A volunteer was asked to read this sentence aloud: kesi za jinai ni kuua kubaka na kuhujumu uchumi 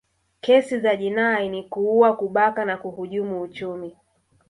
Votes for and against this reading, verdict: 0, 2, rejected